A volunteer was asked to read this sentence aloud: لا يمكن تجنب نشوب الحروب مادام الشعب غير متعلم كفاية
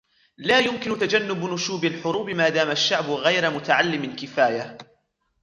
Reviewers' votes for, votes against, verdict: 2, 0, accepted